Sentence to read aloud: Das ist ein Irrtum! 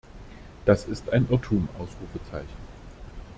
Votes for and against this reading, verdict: 0, 2, rejected